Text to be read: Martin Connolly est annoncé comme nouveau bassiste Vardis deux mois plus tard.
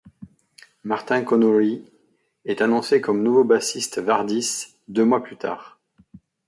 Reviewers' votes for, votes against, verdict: 2, 1, accepted